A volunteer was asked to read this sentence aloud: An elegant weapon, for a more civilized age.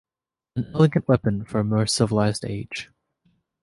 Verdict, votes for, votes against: rejected, 0, 2